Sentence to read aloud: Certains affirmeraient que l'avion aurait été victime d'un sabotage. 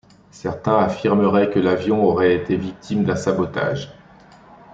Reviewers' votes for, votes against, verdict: 2, 0, accepted